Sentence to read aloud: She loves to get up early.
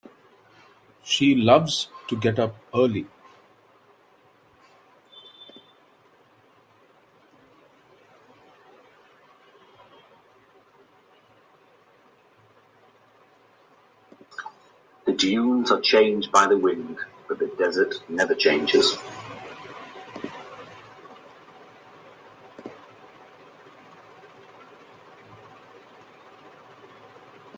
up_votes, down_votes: 0, 2